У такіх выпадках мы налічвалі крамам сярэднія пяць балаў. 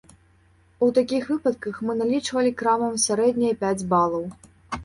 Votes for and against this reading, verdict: 2, 0, accepted